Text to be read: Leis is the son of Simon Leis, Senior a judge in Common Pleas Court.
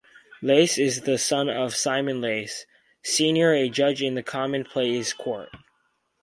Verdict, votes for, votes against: rejected, 0, 2